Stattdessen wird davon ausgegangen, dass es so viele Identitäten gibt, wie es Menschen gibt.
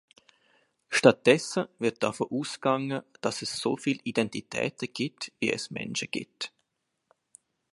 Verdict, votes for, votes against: accepted, 2, 1